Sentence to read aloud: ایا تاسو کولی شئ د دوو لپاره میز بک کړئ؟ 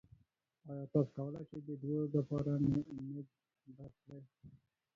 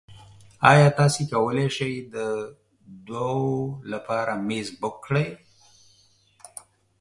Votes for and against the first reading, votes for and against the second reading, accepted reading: 0, 2, 2, 0, second